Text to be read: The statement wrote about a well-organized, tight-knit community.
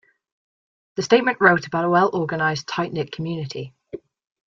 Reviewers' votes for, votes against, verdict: 2, 0, accepted